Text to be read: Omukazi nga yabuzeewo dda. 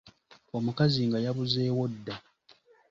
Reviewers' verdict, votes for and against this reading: accepted, 2, 0